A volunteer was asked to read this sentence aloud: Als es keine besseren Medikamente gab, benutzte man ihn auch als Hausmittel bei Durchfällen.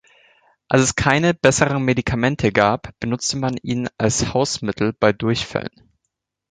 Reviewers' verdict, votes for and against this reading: rejected, 0, 2